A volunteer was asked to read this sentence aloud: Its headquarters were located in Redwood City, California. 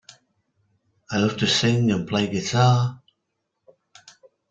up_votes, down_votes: 0, 2